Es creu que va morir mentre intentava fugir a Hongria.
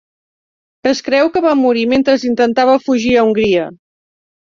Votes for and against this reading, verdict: 1, 2, rejected